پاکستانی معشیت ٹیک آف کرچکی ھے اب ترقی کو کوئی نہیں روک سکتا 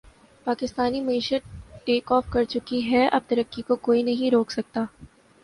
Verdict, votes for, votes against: accepted, 2, 0